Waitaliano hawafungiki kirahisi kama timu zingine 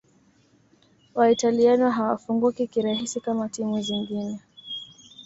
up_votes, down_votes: 2, 0